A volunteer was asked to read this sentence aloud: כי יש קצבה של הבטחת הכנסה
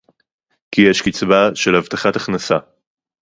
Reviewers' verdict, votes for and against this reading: accepted, 2, 0